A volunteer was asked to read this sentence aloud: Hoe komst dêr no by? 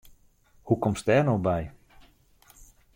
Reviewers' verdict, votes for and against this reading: accepted, 2, 0